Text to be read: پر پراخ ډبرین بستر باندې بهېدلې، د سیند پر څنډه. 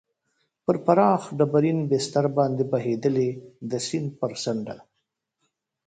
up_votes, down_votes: 1, 2